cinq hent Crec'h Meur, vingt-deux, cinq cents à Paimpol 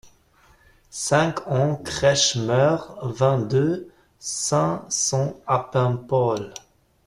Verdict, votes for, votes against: rejected, 1, 2